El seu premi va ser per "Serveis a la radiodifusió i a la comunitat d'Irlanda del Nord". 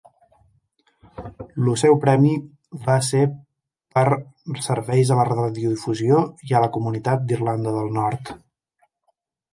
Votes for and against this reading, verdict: 1, 2, rejected